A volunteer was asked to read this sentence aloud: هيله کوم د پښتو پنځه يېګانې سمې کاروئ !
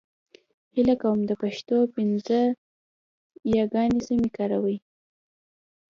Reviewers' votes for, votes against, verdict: 2, 0, accepted